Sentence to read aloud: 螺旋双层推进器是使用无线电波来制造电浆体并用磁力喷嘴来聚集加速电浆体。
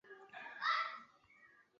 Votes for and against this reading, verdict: 4, 5, rejected